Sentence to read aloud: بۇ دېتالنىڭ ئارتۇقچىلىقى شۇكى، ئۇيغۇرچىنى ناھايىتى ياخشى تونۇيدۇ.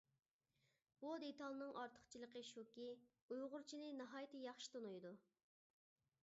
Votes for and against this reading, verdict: 2, 0, accepted